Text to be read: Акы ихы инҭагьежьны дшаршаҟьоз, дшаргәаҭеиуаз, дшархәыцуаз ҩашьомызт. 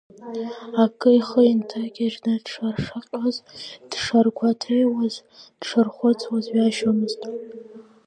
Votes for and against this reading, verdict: 2, 1, accepted